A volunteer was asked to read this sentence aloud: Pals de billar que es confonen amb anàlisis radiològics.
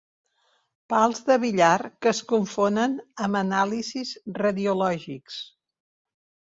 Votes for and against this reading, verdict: 3, 0, accepted